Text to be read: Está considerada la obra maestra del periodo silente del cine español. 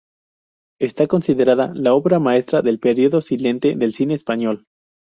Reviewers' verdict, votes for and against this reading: rejected, 0, 2